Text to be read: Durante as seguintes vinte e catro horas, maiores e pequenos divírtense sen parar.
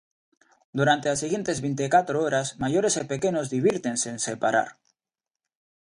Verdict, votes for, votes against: accepted, 2, 1